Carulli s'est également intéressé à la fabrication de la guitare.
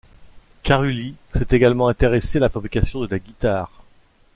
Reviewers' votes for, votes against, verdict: 2, 1, accepted